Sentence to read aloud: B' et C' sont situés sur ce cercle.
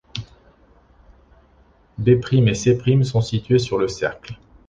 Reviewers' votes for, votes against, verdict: 0, 2, rejected